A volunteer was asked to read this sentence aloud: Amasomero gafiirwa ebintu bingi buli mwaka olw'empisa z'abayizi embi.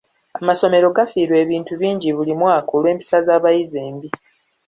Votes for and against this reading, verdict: 2, 0, accepted